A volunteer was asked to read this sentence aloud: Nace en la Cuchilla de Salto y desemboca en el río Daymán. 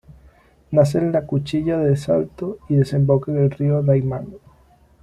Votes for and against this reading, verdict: 2, 0, accepted